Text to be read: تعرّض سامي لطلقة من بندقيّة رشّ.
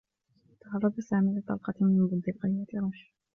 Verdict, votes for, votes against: rejected, 0, 2